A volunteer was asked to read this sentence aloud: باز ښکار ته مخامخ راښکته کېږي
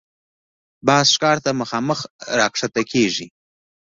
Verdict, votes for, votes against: accepted, 2, 0